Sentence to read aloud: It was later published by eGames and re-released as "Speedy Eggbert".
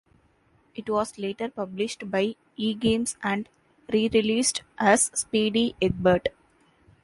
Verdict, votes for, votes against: accepted, 3, 0